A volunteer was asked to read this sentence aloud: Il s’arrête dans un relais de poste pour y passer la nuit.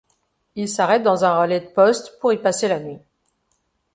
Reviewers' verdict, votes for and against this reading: accepted, 2, 0